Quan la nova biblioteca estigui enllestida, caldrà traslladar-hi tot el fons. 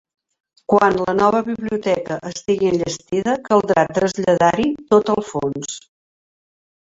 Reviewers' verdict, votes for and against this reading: rejected, 0, 2